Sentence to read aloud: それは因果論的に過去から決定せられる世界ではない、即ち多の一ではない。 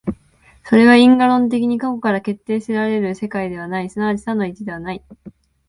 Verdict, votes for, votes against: accepted, 3, 1